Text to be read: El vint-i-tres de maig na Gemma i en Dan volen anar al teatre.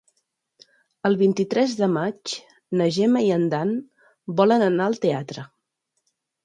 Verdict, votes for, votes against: accepted, 3, 0